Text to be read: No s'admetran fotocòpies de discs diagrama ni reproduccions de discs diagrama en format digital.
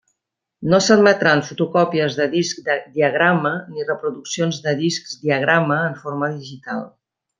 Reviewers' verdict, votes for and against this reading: rejected, 1, 2